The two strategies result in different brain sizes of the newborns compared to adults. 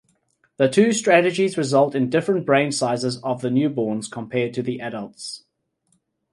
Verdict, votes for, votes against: rejected, 0, 2